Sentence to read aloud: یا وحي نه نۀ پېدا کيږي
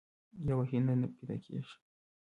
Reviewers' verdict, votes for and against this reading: rejected, 0, 2